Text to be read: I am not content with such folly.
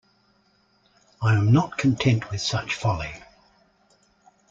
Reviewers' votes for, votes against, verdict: 2, 0, accepted